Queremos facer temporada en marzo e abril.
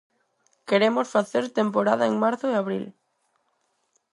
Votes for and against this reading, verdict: 4, 0, accepted